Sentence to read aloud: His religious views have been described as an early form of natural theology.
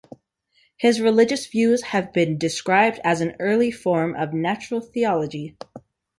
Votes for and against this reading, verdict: 2, 0, accepted